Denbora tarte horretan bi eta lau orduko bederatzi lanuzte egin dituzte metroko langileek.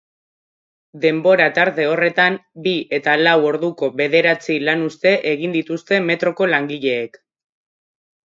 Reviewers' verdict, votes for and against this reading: accepted, 2, 0